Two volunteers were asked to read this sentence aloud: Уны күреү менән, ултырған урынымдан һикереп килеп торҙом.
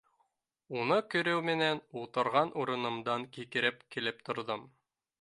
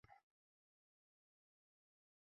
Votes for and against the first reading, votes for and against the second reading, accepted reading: 3, 1, 0, 2, first